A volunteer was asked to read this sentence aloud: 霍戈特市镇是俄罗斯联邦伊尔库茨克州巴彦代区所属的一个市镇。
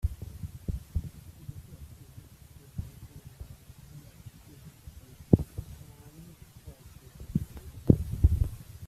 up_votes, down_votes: 0, 2